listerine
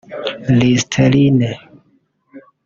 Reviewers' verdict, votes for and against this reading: rejected, 1, 2